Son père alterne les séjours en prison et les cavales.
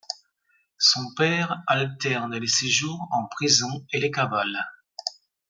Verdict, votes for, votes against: accepted, 2, 0